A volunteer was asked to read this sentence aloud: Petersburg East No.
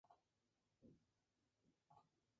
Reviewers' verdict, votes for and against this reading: rejected, 0, 2